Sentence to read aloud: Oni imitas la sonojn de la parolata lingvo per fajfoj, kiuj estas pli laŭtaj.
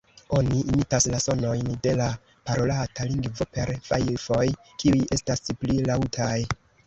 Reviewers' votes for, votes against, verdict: 0, 2, rejected